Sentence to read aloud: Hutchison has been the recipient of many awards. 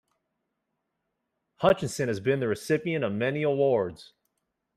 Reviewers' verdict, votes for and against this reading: accepted, 2, 1